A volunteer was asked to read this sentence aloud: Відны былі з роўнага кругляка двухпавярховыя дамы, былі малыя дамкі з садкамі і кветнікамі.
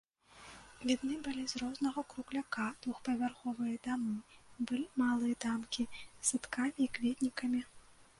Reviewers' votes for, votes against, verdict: 1, 2, rejected